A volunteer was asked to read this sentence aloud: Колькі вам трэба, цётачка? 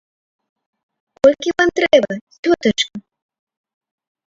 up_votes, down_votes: 0, 2